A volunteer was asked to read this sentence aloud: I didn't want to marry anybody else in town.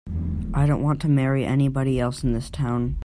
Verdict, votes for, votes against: rejected, 2, 7